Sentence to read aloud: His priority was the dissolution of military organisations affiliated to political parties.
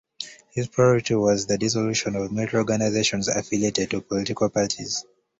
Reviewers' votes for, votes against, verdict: 1, 2, rejected